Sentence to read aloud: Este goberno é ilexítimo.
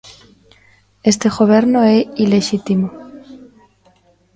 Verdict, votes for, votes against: rejected, 1, 2